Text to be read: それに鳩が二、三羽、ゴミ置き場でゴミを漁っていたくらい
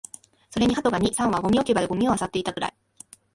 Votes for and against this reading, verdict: 3, 0, accepted